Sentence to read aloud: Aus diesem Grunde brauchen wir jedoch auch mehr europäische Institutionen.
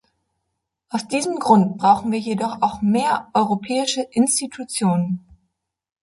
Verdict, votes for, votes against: rejected, 1, 2